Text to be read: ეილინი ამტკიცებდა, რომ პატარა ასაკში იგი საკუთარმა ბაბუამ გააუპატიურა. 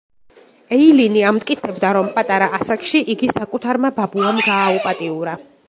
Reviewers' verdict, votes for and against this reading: accepted, 2, 0